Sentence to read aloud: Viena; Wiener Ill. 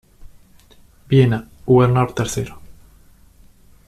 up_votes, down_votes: 2, 1